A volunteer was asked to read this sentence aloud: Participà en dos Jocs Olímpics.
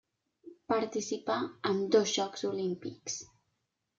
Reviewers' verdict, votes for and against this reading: accepted, 3, 0